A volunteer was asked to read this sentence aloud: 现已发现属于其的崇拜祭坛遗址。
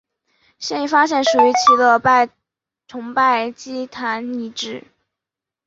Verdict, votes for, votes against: accepted, 5, 1